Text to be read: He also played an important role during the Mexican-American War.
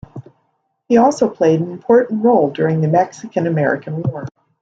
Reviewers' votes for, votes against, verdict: 2, 0, accepted